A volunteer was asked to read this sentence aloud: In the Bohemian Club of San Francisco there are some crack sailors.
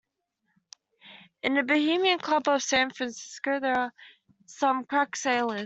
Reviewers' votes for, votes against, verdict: 2, 1, accepted